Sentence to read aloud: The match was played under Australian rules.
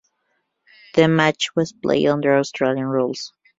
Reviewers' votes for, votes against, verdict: 2, 0, accepted